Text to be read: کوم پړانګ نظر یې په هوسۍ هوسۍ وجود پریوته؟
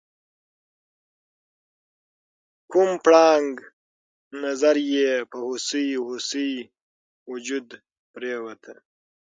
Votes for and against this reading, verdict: 6, 0, accepted